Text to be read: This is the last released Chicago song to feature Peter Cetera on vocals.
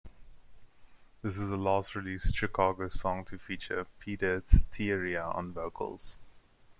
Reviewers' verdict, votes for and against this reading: rejected, 0, 2